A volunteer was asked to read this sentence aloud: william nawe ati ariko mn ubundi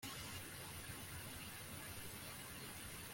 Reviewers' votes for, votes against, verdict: 0, 2, rejected